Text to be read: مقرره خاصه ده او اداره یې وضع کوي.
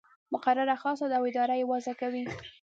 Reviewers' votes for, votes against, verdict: 2, 0, accepted